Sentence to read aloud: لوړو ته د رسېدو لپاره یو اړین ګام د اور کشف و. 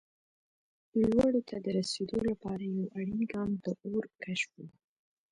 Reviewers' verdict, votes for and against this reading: accepted, 2, 0